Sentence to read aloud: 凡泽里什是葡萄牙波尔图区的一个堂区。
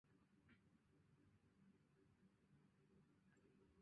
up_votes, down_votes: 1, 6